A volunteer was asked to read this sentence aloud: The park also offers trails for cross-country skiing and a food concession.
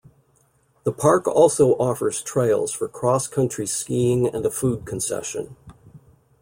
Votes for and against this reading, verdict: 2, 0, accepted